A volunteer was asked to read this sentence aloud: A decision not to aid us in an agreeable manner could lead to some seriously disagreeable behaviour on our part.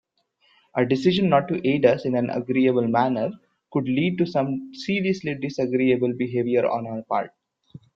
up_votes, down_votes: 2, 1